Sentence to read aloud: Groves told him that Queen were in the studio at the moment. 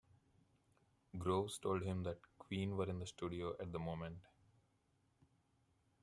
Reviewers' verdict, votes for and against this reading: accepted, 2, 0